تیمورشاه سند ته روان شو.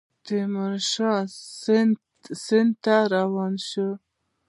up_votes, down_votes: 2, 0